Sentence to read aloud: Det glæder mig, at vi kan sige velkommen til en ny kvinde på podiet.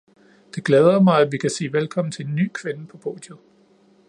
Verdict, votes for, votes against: accepted, 2, 0